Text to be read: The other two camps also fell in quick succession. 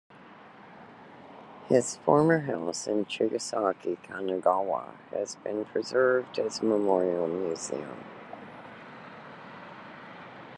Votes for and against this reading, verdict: 1, 2, rejected